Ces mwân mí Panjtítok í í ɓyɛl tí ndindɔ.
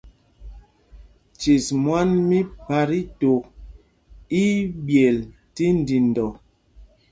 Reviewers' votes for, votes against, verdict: 0, 2, rejected